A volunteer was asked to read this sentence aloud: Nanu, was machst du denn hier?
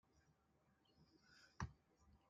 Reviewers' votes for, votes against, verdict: 0, 2, rejected